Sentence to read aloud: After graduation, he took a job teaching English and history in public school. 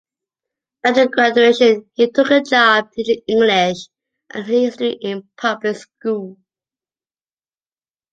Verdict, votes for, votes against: rejected, 0, 2